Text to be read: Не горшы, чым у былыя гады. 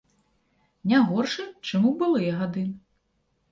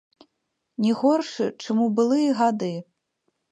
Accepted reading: first